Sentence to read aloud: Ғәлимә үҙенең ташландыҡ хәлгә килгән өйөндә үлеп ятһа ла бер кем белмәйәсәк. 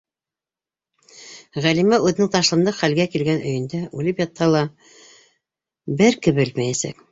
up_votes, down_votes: 0, 2